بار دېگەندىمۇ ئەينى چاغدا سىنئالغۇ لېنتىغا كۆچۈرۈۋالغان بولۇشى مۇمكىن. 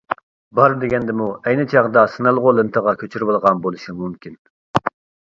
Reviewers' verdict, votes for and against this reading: accepted, 2, 0